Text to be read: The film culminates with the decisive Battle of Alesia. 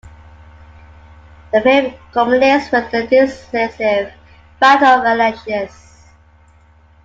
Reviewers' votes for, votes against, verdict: 2, 1, accepted